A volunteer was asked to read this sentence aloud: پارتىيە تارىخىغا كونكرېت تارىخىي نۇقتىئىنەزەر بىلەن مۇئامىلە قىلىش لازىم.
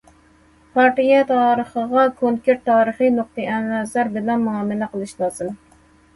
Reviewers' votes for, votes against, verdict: 2, 0, accepted